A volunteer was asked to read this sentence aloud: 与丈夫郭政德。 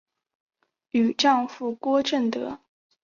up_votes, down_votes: 3, 0